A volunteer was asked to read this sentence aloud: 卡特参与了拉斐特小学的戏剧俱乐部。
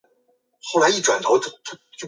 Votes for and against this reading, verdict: 0, 2, rejected